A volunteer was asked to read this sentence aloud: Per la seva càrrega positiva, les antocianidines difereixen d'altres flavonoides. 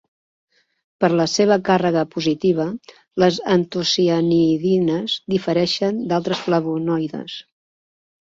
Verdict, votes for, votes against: accepted, 2, 0